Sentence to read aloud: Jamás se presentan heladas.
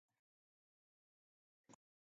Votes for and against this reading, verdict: 0, 2, rejected